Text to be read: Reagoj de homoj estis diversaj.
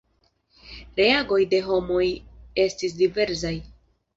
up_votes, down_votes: 2, 1